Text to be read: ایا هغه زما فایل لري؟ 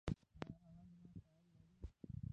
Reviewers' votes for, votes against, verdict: 2, 1, accepted